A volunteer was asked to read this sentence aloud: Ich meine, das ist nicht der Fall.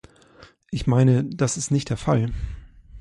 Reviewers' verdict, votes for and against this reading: accepted, 2, 0